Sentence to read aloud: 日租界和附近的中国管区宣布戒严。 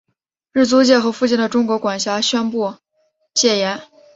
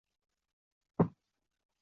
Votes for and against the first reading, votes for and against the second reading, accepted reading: 2, 0, 0, 2, first